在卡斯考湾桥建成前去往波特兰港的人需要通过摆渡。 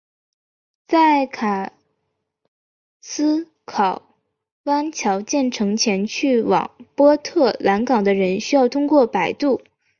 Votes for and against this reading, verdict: 2, 0, accepted